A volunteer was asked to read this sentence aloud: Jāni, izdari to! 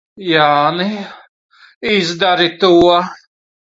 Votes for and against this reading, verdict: 1, 2, rejected